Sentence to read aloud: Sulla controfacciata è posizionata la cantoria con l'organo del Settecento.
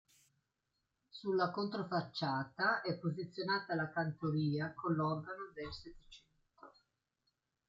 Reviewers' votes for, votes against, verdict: 1, 2, rejected